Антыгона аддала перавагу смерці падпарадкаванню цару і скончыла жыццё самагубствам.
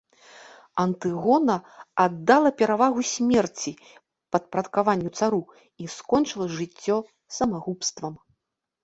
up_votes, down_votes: 1, 2